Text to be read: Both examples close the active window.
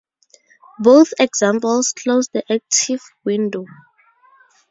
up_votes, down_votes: 4, 0